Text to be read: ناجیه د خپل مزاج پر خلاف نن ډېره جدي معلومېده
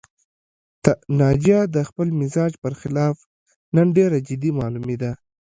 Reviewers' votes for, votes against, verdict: 2, 0, accepted